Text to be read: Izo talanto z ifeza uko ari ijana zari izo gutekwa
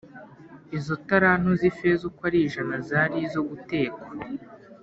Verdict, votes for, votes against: accepted, 2, 0